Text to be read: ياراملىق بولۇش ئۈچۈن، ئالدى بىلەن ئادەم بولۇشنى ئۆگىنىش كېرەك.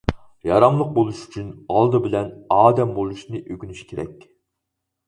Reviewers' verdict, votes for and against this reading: accepted, 4, 0